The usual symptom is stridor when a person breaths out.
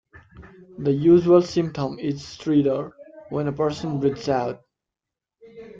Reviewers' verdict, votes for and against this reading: accepted, 2, 0